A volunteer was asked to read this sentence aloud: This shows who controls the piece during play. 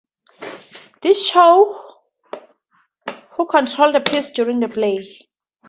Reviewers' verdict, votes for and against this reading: rejected, 2, 2